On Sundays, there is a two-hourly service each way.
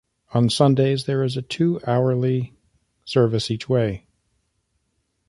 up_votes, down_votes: 2, 0